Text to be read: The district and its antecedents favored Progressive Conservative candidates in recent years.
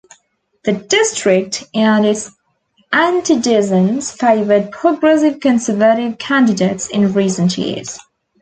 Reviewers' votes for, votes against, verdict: 2, 1, accepted